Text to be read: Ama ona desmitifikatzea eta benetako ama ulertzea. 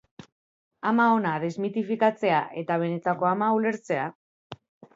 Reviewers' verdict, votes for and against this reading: accepted, 2, 1